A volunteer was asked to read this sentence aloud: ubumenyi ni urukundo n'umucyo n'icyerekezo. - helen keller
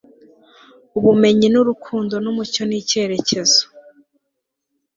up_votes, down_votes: 0, 2